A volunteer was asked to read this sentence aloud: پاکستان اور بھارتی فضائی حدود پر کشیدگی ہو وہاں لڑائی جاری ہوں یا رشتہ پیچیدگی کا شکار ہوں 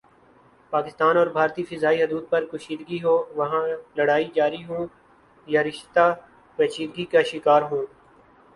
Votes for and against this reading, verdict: 4, 1, accepted